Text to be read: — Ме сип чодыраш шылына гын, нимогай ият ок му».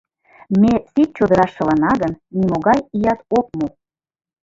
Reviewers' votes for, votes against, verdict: 1, 2, rejected